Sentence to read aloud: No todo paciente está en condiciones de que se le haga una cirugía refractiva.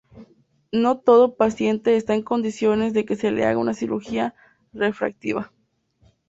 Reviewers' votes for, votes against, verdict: 2, 0, accepted